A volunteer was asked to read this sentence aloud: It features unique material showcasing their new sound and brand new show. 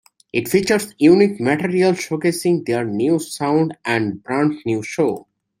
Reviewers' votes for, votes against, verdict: 2, 0, accepted